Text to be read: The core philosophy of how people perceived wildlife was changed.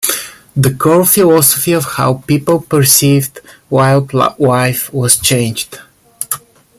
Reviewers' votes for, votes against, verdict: 0, 2, rejected